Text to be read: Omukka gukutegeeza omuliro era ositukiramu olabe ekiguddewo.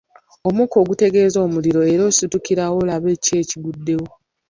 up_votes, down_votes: 0, 2